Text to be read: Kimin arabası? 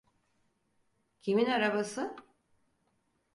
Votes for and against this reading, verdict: 4, 0, accepted